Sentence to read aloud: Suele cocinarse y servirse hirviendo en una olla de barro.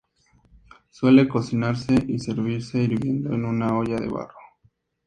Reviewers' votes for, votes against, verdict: 0, 2, rejected